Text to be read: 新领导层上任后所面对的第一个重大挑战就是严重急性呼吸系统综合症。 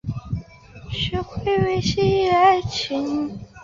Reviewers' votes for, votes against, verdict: 0, 3, rejected